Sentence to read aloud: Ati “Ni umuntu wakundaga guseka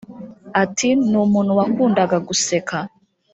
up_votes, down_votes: 0, 2